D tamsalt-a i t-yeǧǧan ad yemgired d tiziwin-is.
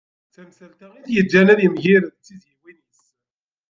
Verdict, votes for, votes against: rejected, 0, 2